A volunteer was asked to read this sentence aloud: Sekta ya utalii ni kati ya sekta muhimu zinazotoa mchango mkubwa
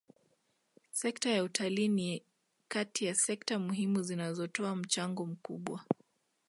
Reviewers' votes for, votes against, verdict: 2, 1, accepted